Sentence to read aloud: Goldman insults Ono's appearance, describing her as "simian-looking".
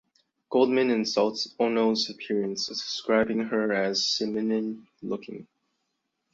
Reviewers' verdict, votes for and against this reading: rejected, 1, 2